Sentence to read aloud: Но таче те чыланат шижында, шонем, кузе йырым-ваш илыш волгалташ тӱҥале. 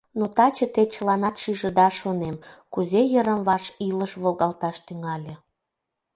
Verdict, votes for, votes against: rejected, 1, 2